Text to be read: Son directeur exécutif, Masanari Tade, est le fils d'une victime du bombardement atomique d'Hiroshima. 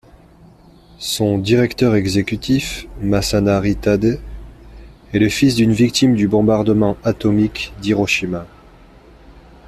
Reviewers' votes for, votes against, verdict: 2, 1, accepted